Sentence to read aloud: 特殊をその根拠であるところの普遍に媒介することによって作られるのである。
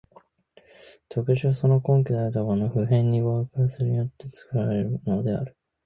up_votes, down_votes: 1, 4